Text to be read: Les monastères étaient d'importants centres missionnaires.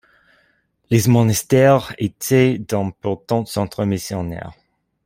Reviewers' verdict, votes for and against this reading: rejected, 0, 2